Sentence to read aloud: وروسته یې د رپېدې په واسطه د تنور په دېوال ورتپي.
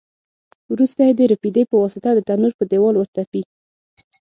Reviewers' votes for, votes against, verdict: 6, 0, accepted